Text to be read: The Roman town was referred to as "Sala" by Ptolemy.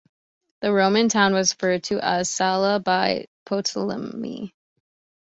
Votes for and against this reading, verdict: 2, 1, accepted